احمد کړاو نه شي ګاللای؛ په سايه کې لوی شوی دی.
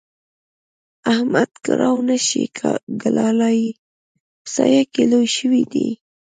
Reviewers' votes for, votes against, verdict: 0, 2, rejected